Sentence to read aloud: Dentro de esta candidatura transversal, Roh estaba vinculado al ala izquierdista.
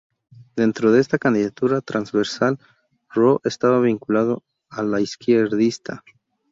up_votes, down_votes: 0, 2